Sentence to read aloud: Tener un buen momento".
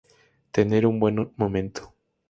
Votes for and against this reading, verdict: 2, 0, accepted